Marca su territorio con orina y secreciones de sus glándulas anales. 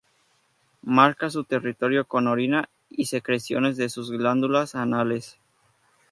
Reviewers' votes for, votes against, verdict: 0, 2, rejected